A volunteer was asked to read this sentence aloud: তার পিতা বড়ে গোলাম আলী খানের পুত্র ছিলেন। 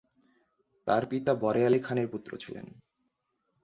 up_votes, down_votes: 0, 4